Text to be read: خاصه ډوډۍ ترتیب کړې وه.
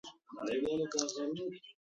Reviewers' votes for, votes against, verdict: 0, 2, rejected